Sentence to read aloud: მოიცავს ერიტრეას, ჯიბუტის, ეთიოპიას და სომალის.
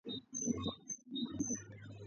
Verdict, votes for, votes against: rejected, 0, 2